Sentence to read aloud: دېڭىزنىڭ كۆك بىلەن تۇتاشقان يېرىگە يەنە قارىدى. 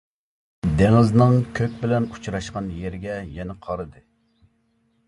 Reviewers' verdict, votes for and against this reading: rejected, 1, 2